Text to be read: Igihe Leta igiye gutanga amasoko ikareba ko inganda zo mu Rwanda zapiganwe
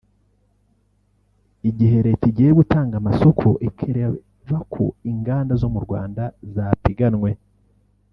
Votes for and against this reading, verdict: 1, 2, rejected